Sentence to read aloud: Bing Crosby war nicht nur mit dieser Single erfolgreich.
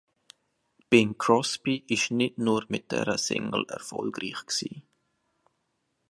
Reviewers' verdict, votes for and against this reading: rejected, 0, 2